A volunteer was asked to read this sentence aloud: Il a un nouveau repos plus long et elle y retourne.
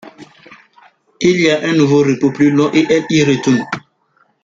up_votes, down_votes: 2, 1